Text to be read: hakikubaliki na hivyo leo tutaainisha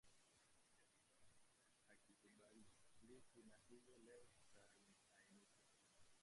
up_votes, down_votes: 0, 2